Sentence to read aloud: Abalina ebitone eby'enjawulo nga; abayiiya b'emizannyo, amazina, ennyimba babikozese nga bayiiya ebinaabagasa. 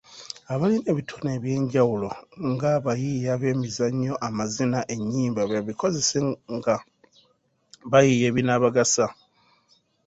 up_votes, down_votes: 0, 3